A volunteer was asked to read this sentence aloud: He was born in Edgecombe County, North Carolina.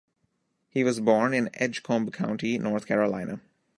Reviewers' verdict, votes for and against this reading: accepted, 2, 1